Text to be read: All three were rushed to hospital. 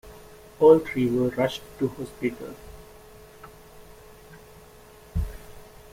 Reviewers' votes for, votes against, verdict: 2, 0, accepted